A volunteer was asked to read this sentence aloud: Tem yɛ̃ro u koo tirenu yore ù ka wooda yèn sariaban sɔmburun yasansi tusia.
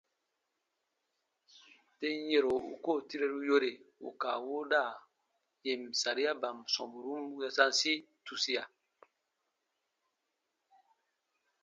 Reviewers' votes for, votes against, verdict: 2, 1, accepted